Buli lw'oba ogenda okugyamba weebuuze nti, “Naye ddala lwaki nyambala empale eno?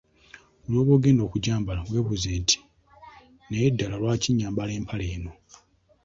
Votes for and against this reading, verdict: 2, 0, accepted